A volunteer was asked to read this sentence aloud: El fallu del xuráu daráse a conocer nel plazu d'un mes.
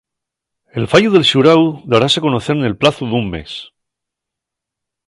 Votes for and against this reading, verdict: 2, 0, accepted